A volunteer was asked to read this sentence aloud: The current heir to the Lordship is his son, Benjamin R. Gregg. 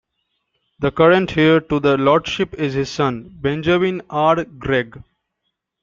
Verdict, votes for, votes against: accepted, 2, 0